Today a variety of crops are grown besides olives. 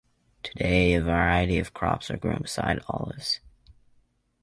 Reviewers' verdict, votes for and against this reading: rejected, 1, 2